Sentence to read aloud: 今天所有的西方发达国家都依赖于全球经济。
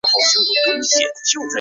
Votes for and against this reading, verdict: 0, 3, rejected